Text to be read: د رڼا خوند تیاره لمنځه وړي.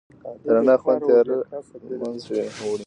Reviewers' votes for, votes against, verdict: 1, 2, rejected